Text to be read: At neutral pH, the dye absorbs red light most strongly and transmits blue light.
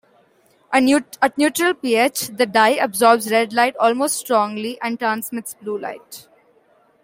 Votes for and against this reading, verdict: 2, 0, accepted